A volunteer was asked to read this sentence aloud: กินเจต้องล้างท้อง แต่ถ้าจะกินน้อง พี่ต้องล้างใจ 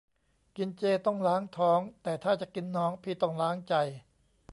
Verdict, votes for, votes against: accepted, 2, 0